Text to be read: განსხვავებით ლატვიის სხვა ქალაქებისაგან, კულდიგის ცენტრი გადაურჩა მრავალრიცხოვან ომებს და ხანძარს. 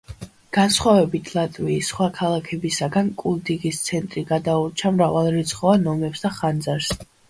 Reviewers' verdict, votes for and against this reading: accepted, 3, 1